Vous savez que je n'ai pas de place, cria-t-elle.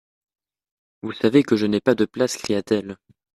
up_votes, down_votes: 2, 0